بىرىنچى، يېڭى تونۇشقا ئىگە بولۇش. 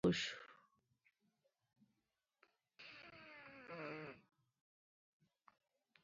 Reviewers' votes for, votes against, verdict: 0, 2, rejected